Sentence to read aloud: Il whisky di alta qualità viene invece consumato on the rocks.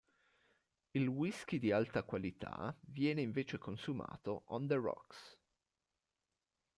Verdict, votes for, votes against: rejected, 1, 2